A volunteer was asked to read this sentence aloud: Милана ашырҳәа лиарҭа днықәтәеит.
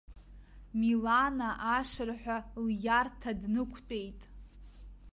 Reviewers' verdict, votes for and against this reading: accepted, 2, 1